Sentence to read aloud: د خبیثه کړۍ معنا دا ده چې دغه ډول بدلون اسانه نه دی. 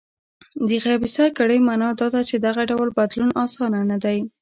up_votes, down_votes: 0, 2